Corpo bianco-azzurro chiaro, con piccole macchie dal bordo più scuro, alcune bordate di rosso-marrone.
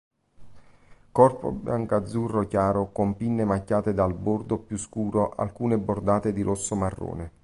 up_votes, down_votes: 0, 2